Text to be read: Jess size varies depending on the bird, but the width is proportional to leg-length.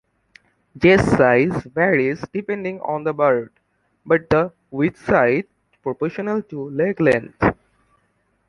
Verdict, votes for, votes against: rejected, 0, 2